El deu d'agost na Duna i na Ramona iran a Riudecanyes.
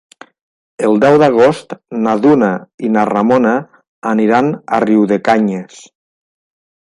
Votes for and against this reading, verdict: 0, 2, rejected